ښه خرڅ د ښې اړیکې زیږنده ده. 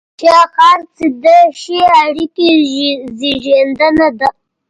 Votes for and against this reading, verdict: 1, 2, rejected